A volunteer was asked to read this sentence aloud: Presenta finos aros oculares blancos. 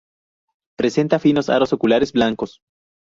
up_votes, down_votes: 4, 0